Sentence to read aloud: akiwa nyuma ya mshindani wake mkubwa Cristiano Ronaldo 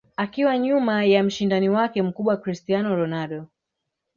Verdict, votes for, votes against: rejected, 0, 2